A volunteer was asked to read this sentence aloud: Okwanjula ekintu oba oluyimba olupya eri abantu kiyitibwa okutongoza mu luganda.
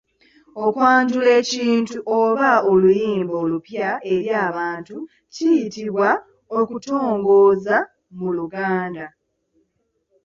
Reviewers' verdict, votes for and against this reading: accepted, 2, 1